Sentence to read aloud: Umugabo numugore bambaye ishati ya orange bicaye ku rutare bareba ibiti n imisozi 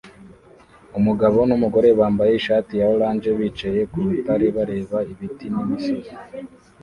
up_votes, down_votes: 1, 2